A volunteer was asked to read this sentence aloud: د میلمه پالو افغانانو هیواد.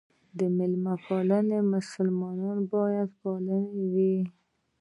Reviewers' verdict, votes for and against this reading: rejected, 1, 2